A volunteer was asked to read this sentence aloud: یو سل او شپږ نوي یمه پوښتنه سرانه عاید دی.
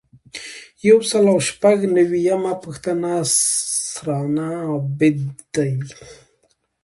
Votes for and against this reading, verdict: 2, 1, accepted